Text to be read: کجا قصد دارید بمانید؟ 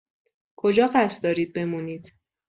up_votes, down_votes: 0, 2